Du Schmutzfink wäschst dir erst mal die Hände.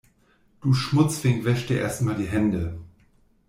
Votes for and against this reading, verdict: 2, 0, accepted